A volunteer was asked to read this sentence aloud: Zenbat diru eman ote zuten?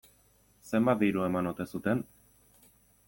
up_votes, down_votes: 2, 0